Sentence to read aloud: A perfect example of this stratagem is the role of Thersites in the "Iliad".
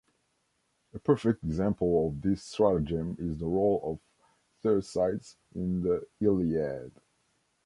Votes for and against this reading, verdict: 0, 2, rejected